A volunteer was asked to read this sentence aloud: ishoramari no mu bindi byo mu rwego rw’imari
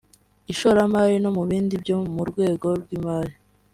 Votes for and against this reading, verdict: 3, 1, accepted